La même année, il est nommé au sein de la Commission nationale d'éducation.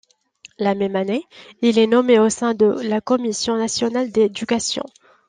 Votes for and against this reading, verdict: 2, 0, accepted